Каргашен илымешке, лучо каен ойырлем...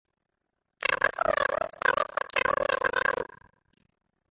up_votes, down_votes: 0, 2